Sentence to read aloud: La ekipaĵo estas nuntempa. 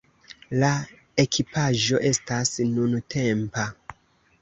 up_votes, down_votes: 2, 0